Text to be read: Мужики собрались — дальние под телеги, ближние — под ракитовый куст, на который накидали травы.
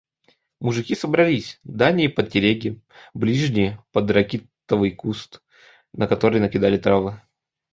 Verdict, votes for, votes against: accepted, 2, 0